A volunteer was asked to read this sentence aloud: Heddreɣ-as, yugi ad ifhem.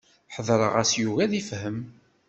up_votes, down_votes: 1, 2